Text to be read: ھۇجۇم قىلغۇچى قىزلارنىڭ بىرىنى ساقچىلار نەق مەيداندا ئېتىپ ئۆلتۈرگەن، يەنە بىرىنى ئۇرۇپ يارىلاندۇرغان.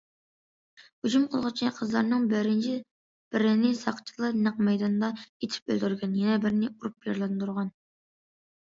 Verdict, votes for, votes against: rejected, 0, 2